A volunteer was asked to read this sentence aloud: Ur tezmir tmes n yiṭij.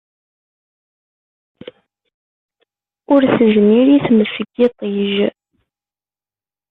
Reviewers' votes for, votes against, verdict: 0, 2, rejected